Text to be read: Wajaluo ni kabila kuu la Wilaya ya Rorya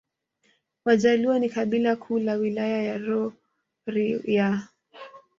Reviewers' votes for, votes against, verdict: 1, 2, rejected